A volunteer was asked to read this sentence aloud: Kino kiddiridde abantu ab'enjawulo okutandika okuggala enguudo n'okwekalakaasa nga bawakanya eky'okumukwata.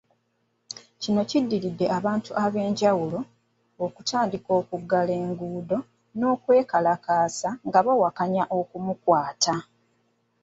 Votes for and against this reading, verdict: 0, 2, rejected